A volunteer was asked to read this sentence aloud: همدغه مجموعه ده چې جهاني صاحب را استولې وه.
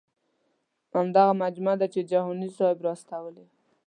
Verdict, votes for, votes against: accepted, 2, 0